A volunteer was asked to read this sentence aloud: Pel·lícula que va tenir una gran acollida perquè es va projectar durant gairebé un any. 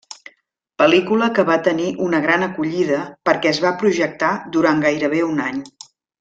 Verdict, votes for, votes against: accepted, 4, 0